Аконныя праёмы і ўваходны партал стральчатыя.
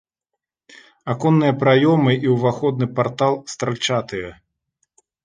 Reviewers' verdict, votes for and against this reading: accepted, 2, 0